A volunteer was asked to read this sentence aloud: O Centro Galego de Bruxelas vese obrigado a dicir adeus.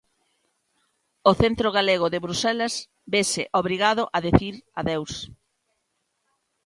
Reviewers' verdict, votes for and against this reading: rejected, 0, 2